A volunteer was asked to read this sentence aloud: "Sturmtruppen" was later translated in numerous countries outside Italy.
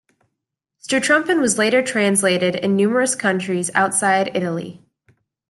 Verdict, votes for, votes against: accepted, 2, 1